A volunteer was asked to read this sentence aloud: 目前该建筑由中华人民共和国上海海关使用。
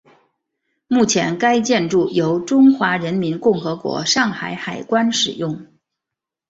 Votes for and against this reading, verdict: 4, 0, accepted